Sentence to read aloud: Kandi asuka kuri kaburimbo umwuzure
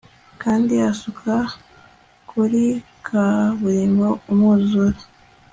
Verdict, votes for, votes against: accepted, 2, 0